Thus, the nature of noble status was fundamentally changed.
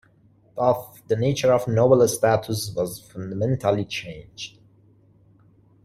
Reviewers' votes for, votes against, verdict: 2, 1, accepted